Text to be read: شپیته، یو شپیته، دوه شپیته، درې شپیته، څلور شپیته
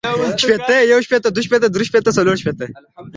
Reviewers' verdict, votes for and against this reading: accepted, 2, 0